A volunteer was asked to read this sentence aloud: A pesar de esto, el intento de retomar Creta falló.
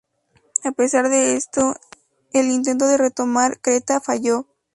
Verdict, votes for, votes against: rejected, 0, 2